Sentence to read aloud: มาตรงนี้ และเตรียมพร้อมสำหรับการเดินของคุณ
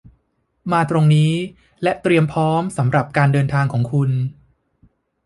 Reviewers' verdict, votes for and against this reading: rejected, 0, 2